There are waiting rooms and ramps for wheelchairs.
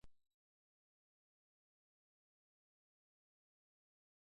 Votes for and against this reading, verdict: 0, 2, rejected